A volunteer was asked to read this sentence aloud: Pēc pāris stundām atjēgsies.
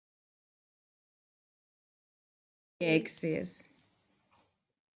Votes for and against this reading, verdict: 0, 3, rejected